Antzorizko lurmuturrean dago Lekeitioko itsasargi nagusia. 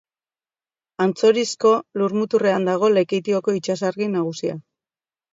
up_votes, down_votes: 3, 0